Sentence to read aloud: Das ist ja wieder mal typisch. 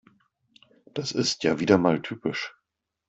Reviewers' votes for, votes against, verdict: 2, 0, accepted